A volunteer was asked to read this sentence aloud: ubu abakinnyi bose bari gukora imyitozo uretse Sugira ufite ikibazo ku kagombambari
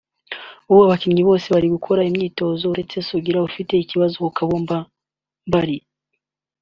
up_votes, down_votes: 0, 2